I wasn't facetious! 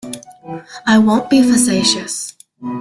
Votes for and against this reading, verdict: 1, 2, rejected